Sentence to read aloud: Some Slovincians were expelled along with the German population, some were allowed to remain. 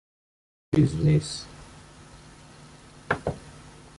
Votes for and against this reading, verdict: 0, 2, rejected